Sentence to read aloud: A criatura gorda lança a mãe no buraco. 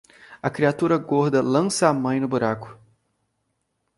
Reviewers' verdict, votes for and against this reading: accepted, 2, 0